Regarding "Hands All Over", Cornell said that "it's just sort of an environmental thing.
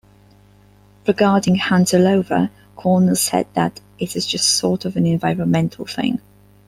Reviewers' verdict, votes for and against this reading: rejected, 1, 2